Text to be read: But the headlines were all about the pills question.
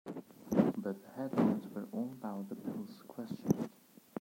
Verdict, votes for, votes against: rejected, 0, 2